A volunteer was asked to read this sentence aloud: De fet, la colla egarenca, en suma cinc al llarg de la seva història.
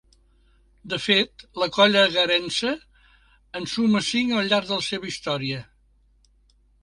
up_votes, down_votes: 1, 2